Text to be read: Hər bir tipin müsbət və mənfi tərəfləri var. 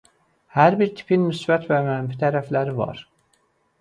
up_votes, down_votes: 2, 0